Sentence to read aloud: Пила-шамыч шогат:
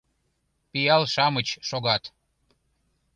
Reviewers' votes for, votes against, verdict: 0, 2, rejected